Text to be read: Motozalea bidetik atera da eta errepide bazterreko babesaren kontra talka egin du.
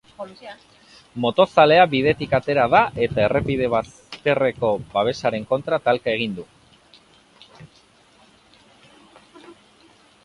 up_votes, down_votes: 0, 2